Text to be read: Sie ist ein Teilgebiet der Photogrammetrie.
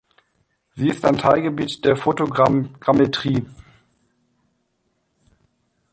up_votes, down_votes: 1, 2